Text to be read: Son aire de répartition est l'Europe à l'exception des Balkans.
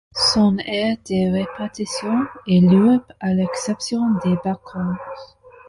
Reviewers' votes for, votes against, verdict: 0, 2, rejected